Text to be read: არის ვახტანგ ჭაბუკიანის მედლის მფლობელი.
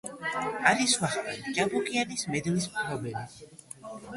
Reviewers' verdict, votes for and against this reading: rejected, 1, 2